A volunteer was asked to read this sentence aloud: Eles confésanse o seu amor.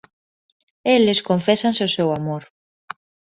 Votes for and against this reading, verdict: 2, 0, accepted